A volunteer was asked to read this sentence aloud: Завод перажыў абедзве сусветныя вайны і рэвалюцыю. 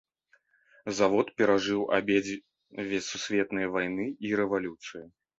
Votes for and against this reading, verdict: 2, 1, accepted